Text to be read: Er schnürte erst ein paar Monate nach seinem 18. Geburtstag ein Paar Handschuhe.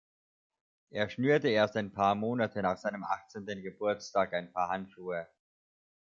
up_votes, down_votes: 0, 2